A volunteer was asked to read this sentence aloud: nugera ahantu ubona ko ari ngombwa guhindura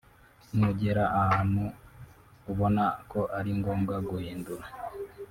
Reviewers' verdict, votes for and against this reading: rejected, 0, 2